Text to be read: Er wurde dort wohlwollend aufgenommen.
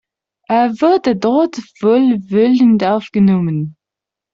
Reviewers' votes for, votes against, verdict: 0, 2, rejected